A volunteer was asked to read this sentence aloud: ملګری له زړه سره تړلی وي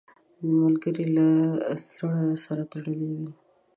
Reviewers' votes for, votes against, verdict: 0, 2, rejected